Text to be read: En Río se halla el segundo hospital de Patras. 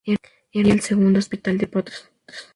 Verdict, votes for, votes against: rejected, 0, 4